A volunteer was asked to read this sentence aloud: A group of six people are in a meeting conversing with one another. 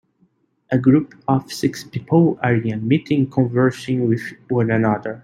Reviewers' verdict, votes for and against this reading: accepted, 2, 1